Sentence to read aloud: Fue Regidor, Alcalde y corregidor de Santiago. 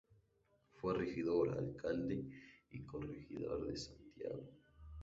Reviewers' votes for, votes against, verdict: 0, 2, rejected